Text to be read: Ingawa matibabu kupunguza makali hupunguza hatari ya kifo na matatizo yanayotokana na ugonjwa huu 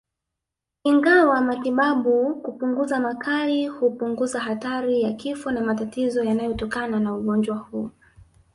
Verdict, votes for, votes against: rejected, 0, 2